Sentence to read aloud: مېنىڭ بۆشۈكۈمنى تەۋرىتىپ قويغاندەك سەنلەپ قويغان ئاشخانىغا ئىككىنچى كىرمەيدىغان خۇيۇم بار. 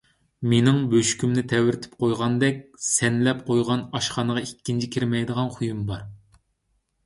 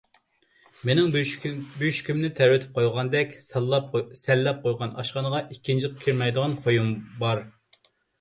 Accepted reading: first